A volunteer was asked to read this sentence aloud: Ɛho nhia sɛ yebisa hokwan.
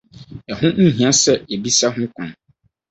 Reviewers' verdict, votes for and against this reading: rejected, 2, 2